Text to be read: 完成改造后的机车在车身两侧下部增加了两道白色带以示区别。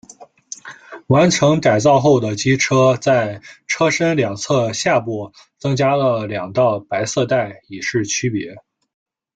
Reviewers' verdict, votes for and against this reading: accepted, 2, 0